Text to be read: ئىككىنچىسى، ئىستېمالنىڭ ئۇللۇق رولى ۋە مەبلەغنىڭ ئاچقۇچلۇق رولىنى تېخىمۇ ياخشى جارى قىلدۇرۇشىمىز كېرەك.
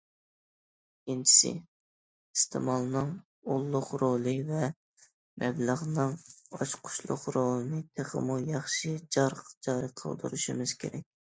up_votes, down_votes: 1, 2